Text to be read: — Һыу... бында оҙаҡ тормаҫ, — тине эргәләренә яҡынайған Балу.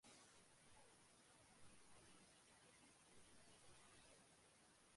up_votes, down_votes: 1, 2